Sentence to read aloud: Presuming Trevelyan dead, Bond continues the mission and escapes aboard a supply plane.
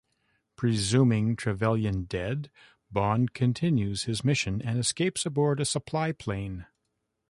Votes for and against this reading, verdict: 0, 2, rejected